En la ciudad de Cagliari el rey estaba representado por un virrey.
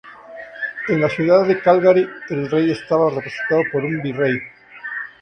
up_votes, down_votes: 0, 2